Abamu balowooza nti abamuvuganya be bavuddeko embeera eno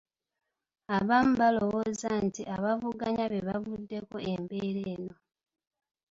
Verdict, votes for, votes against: rejected, 1, 2